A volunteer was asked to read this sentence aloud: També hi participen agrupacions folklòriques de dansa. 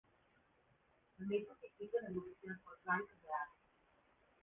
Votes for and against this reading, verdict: 1, 2, rejected